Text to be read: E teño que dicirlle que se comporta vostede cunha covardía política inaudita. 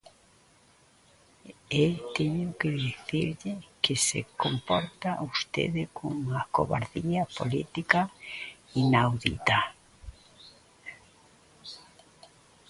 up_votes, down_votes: 0, 2